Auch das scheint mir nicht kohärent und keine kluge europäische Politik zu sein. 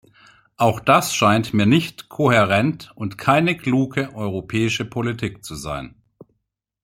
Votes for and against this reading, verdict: 2, 0, accepted